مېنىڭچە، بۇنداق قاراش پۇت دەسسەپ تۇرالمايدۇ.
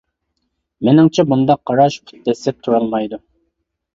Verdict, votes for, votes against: accepted, 2, 0